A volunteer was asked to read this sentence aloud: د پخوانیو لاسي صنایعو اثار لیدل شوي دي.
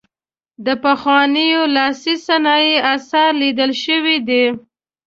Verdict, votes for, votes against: accepted, 2, 0